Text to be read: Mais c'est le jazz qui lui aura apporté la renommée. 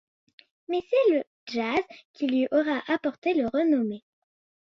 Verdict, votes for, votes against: rejected, 1, 2